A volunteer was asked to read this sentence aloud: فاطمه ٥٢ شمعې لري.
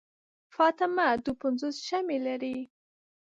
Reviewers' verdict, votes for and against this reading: rejected, 0, 2